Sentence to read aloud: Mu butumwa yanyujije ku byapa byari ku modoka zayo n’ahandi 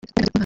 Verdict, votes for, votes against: rejected, 0, 2